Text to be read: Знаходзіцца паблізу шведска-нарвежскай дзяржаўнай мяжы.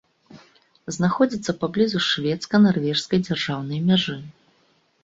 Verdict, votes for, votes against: accepted, 2, 0